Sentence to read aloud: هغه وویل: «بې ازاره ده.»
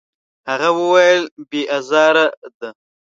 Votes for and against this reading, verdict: 0, 2, rejected